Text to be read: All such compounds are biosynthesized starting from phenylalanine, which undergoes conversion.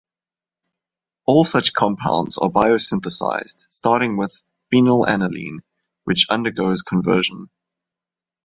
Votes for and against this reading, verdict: 0, 2, rejected